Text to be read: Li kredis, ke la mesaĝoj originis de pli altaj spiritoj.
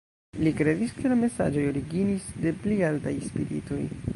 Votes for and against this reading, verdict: 1, 2, rejected